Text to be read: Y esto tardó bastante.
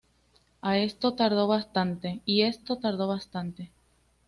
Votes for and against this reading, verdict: 0, 2, rejected